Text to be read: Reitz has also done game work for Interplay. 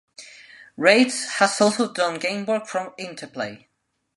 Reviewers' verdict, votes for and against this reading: rejected, 1, 2